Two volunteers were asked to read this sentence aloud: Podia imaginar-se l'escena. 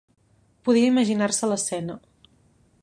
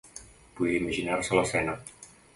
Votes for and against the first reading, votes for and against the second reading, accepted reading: 2, 0, 1, 2, first